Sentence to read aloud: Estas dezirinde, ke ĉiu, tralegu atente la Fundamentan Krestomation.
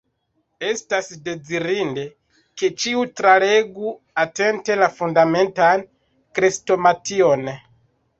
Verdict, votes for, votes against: accepted, 2, 1